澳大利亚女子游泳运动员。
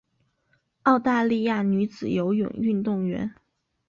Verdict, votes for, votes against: accepted, 5, 0